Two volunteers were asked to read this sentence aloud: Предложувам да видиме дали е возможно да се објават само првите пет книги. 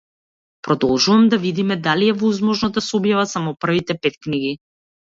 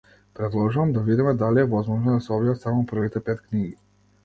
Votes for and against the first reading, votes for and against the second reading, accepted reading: 0, 2, 2, 0, second